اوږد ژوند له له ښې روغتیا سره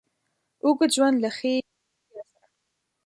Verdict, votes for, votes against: rejected, 0, 2